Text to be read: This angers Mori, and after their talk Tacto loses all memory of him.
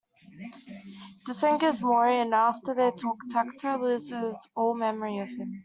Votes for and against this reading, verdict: 2, 1, accepted